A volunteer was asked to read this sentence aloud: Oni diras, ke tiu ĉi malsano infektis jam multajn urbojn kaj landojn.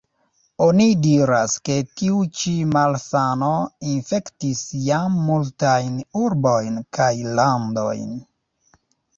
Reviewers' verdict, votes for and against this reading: rejected, 1, 2